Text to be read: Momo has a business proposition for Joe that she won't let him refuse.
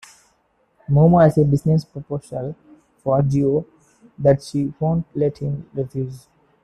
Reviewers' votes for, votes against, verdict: 1, 2, rejected